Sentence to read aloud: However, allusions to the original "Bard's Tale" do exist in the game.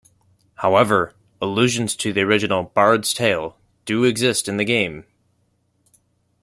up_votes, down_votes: 2, 0